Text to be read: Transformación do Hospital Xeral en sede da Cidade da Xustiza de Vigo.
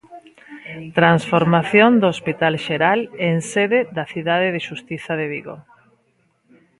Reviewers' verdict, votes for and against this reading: rejected, 1, 2